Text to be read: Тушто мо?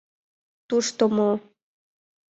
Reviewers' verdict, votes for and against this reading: accepted, 2, 0